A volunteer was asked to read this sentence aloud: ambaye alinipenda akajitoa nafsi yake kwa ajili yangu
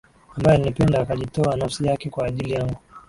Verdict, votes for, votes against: accepted, 2, 0